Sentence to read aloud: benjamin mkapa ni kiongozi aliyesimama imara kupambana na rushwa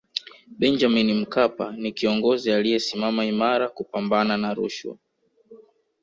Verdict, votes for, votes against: rejected, 0, 2